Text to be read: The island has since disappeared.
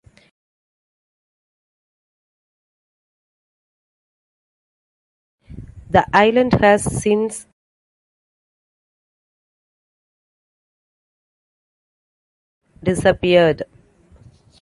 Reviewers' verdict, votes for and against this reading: rejected, 1, 2